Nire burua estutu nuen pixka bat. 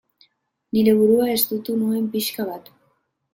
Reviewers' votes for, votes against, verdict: 2, 0, accepted